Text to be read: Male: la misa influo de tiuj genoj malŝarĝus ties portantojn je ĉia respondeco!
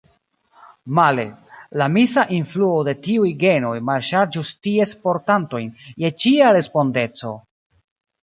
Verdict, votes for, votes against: accepted, 2, 0